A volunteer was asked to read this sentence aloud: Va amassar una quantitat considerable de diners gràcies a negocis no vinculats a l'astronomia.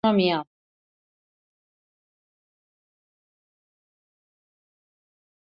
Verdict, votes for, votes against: rejected, 0, 3